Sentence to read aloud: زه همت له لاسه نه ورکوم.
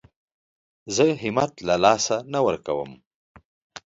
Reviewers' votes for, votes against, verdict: 2, 0, accepted